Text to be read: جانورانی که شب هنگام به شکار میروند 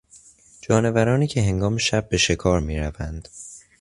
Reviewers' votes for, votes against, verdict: 1, 2, rejected